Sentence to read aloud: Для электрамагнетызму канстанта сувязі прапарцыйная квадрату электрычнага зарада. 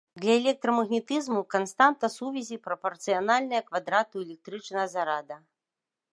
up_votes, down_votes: 2, 3